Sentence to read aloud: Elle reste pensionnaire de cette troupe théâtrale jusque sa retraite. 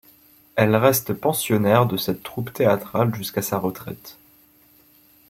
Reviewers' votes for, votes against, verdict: 0, 2, rejected